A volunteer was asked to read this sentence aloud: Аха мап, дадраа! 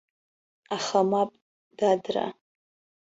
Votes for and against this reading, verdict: 2, 0, accepted